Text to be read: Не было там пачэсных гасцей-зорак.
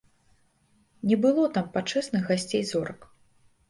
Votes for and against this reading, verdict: 2, 0, accepted